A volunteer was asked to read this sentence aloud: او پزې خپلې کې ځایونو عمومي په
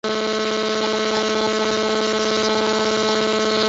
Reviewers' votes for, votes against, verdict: 0, 2, rejected